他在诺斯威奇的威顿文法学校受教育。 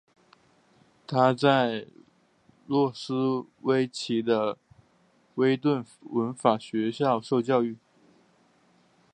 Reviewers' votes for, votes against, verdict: 3, 0, accepted